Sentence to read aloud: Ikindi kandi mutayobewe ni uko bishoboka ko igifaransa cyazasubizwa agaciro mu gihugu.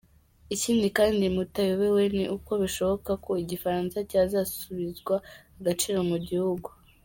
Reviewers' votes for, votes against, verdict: 2, 1, accepted